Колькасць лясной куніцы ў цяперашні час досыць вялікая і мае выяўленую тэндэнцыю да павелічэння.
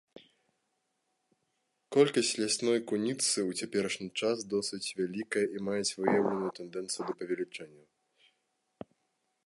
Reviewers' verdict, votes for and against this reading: rejected, 1, 2